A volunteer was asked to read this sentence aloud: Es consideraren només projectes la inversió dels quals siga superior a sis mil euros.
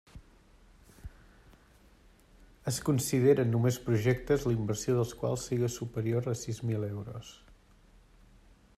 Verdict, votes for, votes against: rejected, 0, 2